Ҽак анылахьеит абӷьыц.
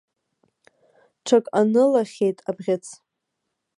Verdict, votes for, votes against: accepted, 2, 0